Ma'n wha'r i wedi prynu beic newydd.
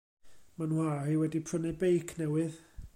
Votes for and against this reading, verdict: 2, 0, accepted